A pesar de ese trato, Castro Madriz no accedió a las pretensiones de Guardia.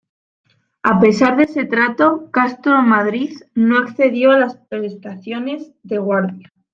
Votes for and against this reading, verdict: 0, 2, rejected